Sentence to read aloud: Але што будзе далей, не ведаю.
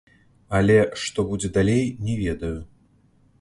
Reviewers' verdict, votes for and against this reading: accepted, 2, 0